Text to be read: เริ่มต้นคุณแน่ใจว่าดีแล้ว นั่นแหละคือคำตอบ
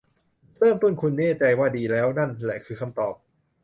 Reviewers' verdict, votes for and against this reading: accepted, 2, 0